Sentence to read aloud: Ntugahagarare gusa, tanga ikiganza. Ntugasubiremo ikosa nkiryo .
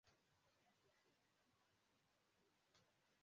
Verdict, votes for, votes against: rejected, 0, 2